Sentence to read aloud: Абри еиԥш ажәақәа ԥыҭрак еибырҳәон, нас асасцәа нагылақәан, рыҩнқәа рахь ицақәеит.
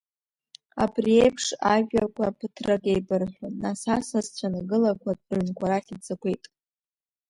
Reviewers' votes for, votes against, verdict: 2, 0, accepted